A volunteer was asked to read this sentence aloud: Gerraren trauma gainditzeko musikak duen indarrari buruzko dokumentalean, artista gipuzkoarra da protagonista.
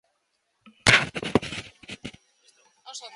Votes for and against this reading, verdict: 0, 2, rejected